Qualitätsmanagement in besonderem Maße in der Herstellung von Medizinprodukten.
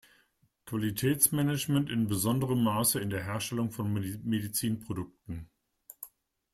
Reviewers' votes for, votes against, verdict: 1, 2, rejected